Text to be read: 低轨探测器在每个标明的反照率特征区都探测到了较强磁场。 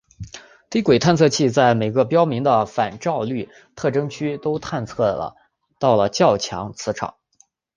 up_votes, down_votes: 2, 1